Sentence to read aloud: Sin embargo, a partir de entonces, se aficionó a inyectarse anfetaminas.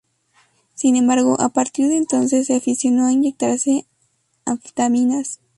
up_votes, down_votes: 2, 0